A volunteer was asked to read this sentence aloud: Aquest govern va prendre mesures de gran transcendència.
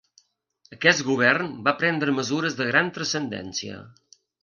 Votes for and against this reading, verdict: 2, 0, accepted